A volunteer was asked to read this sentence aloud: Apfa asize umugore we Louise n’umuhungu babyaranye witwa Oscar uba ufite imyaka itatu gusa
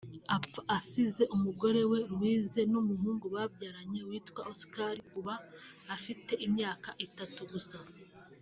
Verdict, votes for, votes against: rejected, 1, 2